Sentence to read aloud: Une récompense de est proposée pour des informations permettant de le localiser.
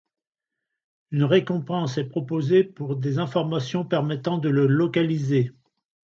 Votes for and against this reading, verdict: 1, 2, rejected